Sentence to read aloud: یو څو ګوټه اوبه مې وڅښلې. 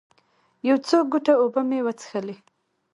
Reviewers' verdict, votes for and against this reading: rejected, 0, 2